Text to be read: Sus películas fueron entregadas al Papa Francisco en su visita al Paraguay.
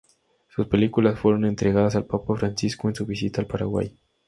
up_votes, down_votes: 2, 0